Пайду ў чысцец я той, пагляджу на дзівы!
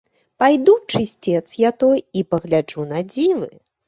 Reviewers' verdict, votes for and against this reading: rejected, 0, 3